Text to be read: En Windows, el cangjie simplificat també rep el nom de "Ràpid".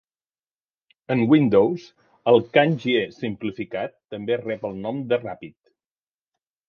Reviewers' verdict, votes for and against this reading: accepted, 2, 0